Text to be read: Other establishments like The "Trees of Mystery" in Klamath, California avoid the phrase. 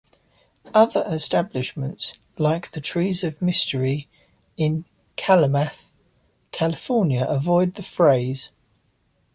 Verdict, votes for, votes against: accepted, 2, 1